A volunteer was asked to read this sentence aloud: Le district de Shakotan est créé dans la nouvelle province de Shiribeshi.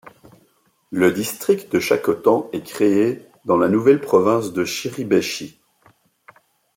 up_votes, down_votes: 1, 2